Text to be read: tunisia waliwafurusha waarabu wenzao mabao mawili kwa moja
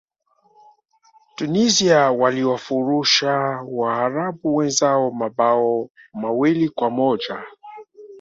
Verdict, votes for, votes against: accepted, 2, 0